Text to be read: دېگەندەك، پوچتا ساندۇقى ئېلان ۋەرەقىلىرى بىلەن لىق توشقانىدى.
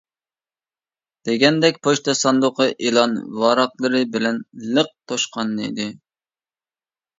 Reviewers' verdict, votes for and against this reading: rejected, 1, 2